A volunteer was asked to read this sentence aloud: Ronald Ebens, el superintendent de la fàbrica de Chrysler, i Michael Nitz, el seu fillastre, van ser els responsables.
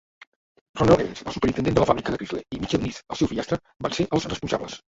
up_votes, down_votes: 0, 3